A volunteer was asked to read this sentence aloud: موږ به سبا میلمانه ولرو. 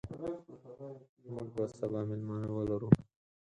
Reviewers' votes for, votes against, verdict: 2, 4, rejected